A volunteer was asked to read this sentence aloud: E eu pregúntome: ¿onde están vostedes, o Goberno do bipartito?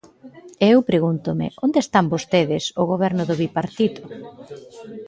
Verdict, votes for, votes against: rejected, 0, 2